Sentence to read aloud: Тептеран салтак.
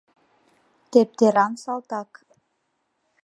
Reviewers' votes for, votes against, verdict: 2, 0, accepted